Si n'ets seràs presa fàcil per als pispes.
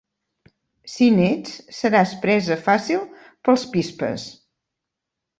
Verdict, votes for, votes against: accepted, 3, 1